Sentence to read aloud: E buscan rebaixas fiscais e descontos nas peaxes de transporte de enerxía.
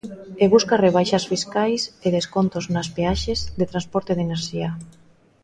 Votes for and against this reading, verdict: 0, 2, rejected